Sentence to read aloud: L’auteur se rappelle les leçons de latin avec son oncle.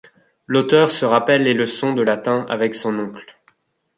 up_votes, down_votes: 2, 0